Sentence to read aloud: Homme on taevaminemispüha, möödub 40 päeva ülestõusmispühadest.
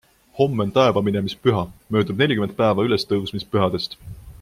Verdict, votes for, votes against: rejected, 0, 2